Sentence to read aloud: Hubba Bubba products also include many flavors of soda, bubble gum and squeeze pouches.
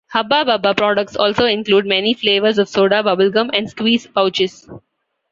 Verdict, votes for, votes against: accepted, 2, 0